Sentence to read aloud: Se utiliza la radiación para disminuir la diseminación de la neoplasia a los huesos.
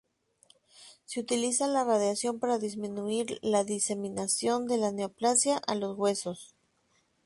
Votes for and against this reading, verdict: 2, 0, accepted